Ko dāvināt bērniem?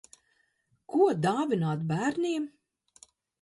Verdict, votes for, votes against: accepted, 2, 0